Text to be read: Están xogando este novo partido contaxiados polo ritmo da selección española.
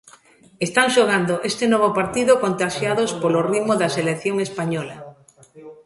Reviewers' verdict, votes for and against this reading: rejected, 0, 3